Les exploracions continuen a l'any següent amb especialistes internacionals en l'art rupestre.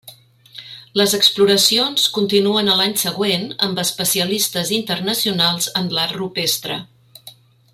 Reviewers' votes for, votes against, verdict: 3, 0, accepted